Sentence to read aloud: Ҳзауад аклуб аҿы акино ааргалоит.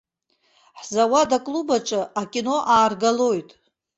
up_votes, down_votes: 3, 0